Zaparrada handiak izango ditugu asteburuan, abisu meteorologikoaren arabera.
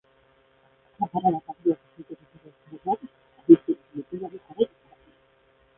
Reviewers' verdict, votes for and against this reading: rejected, 0, 2